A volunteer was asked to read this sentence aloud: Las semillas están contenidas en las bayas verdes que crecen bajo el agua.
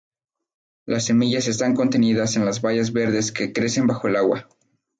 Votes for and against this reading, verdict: 2, 2, rejected